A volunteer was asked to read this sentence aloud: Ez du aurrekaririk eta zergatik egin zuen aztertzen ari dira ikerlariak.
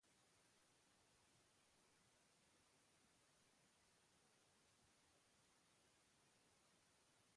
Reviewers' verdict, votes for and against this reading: rejected, 0, 2